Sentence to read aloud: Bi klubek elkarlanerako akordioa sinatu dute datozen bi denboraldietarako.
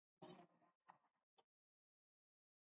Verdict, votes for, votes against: rejected, 0, 2